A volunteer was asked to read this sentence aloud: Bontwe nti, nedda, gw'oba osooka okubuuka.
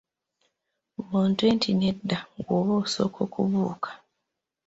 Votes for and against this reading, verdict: 1, 2, rejected